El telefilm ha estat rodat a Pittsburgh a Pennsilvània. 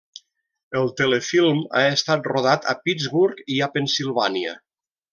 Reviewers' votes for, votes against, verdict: 0, 2, rejected